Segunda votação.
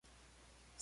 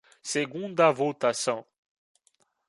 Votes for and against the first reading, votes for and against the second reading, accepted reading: 0, 2, 2, 0, second